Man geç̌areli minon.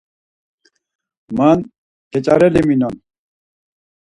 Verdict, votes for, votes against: accepted, 4, 0